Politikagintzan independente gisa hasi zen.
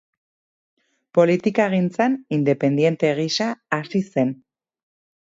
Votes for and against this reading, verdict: 2, 2, rejected